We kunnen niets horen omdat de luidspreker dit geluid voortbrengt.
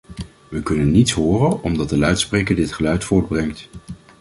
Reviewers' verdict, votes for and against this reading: accepted, 2, 0